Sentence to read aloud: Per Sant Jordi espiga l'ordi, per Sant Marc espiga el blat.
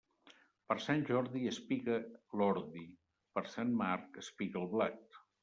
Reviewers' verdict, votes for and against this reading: accepted, 2, 0